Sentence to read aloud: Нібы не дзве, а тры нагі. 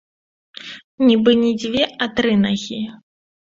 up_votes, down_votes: 2, 0